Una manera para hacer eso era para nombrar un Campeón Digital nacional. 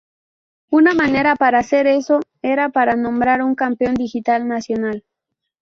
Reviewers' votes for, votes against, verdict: 2, 0, accepted